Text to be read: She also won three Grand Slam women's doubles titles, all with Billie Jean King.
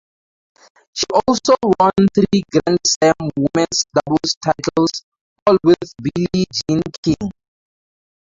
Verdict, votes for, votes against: rejected, 0, 4